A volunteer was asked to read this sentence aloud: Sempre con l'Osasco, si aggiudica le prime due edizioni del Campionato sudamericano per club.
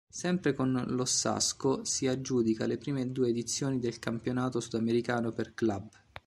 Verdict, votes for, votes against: rejected, 1, 2